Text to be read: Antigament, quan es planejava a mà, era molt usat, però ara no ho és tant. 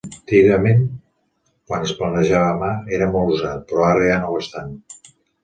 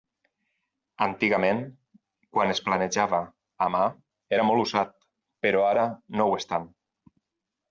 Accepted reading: second